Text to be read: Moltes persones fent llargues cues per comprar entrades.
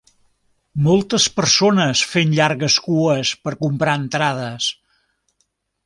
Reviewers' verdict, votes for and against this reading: accepted, 3, 0